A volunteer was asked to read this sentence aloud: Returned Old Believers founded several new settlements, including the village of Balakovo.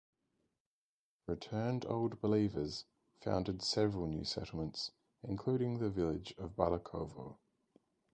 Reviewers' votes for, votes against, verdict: 2, 4, rejected